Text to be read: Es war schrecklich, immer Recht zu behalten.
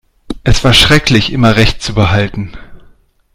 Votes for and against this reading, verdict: 2, 0, accepted